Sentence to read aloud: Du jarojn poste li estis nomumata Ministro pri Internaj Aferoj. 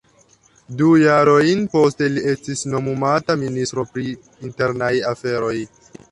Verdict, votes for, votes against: accepted, 2, 0